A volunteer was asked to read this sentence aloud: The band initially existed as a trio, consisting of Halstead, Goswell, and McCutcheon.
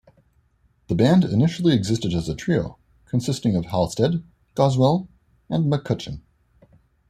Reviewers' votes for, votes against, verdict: 2, 0, accepted